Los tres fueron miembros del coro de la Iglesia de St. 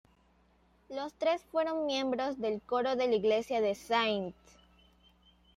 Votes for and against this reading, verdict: 1, 2, rejected